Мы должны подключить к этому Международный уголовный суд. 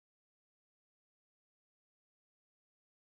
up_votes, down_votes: 0, 2